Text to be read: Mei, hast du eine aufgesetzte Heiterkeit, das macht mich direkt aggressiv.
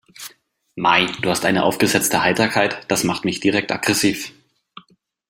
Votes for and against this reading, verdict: 1, 2, rejected